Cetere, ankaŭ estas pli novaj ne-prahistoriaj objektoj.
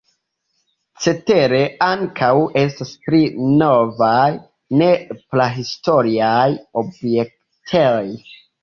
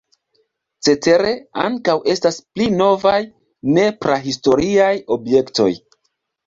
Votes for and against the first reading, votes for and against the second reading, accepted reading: 1, 2, 2, 0, second